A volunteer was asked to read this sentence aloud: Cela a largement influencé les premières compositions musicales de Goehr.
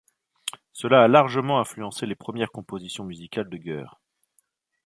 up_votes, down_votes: 2, 1